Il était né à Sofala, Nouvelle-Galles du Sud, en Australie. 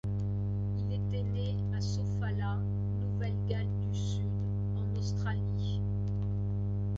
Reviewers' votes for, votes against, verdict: 2, 0, accepted